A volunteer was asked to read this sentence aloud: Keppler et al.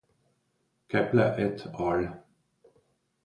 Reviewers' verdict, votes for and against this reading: accepted, 2, 0